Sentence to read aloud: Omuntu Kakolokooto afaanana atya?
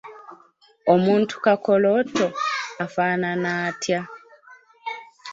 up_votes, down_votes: 0, 2